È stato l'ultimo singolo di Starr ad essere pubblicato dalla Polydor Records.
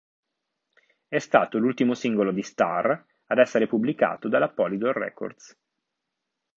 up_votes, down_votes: 2, 0